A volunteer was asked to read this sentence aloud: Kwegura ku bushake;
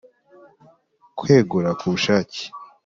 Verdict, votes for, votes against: accepted, 3, 0